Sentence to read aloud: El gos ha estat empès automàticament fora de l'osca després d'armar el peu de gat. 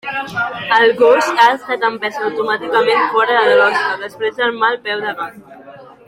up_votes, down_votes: 1, 2